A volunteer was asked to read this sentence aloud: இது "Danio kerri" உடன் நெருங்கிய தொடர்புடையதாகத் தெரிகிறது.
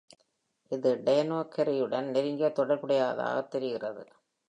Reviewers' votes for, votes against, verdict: 2, 0, accepted